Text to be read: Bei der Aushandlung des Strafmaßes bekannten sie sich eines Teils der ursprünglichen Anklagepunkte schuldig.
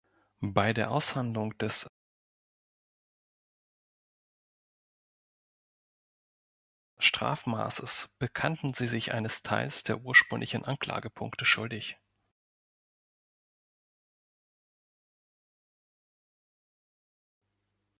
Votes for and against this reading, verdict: 1, 2, rejected